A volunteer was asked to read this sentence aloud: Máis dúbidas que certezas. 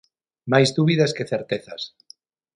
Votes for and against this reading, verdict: 6, 0, accepted